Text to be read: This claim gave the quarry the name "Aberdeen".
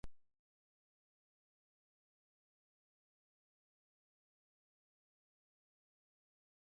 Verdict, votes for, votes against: rejected, 0, 2